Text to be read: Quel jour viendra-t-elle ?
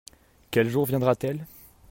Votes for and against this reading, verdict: 2, 0, accepted